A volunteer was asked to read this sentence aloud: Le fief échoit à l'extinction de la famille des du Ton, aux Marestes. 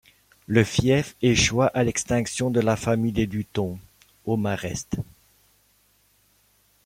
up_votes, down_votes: 0, 2